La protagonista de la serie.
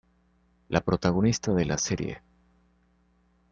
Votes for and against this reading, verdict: 2, 0, accepted